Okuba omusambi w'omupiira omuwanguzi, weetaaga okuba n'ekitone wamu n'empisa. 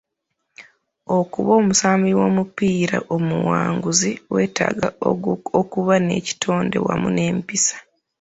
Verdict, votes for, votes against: rejected, 0, 2